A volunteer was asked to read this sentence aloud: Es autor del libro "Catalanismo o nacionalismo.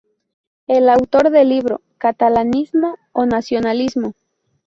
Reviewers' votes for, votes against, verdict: 0, 2, rejected